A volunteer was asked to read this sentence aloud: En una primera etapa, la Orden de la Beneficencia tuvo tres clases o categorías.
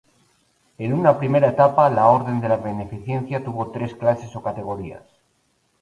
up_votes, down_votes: 4, 0